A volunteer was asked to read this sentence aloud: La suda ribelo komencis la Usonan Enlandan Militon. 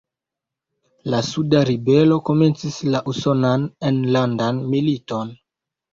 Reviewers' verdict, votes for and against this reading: accepted, 2, 0